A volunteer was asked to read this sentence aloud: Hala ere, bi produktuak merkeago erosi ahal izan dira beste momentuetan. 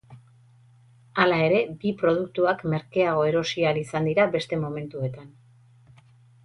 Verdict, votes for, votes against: rejected, 2, 2